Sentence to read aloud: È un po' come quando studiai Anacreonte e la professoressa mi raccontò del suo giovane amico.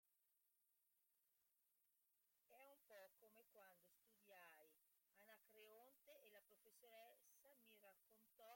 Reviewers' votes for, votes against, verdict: 0, 2, rejected